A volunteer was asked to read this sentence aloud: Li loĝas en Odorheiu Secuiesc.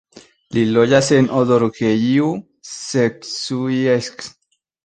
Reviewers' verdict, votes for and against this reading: accepted, 2, 0